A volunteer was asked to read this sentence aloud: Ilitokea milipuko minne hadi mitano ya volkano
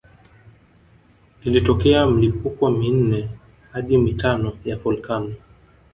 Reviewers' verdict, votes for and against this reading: accepted, 3, 1